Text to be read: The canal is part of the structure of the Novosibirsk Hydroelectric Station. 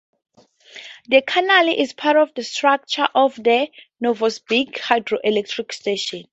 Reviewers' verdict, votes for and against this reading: rejected, 0, 2